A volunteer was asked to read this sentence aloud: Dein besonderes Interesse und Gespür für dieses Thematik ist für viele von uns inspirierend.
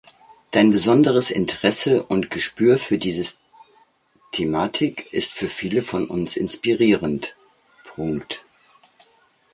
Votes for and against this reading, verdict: 0, 2, rejected